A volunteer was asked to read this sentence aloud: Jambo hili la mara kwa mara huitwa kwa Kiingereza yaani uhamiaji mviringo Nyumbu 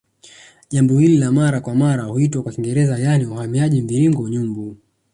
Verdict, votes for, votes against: accepted, 2, 0